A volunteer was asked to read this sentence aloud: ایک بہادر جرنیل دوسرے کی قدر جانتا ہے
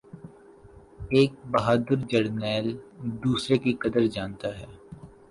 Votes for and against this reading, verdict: 2, 4, rejected